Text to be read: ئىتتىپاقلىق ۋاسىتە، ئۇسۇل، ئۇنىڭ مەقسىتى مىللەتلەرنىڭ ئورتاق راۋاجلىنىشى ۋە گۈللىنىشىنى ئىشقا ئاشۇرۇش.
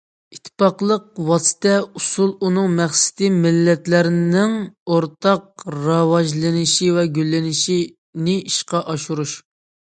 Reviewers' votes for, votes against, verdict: 2, 1, accepted